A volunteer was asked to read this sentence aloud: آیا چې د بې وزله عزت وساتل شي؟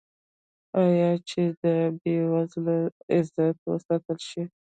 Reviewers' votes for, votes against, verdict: 1, 2, rejected